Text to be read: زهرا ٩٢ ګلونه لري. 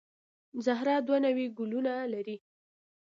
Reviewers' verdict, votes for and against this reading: rejected, 0, 2